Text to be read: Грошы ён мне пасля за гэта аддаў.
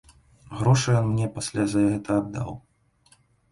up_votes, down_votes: 0, 2